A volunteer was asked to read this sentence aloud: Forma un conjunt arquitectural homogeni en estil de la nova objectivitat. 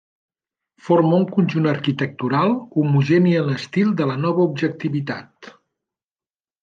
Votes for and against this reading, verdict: 2, 0, accepted